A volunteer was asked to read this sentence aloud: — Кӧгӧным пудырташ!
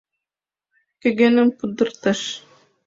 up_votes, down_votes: 2, 0